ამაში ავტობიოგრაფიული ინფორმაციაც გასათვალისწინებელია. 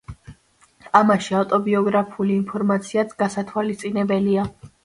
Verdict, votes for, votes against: rejected, 1, 2